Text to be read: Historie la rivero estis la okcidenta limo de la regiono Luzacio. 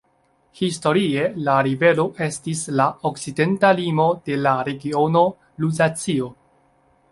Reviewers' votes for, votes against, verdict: 2, 0, accepted